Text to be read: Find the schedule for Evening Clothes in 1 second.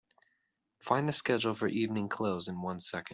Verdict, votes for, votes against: rejected, 0, 2